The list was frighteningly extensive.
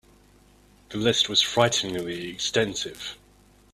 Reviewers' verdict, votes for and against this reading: accepted, 3, 0